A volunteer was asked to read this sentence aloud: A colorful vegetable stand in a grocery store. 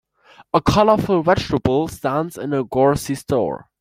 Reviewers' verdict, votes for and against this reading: rejected, 2, 4